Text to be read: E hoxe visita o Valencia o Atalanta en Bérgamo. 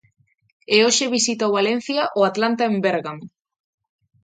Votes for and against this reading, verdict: 1, 2, rejected